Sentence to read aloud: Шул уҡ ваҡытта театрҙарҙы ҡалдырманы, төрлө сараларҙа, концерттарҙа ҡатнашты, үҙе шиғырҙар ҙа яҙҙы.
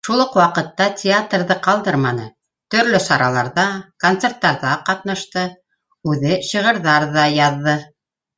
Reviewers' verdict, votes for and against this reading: rejected, 0, 2